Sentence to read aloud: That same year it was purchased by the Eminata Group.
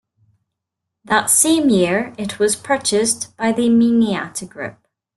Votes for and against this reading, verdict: 2, 0, accepted